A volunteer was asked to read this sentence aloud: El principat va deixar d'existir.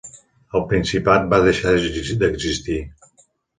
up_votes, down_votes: 0, 2